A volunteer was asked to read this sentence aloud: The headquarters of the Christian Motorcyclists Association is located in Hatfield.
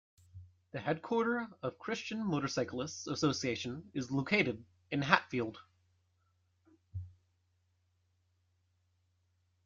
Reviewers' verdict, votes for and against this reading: rejected, 1, 2